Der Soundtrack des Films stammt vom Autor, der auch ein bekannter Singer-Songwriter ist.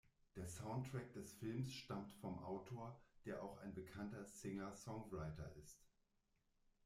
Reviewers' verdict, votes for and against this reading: rejected, 1, 2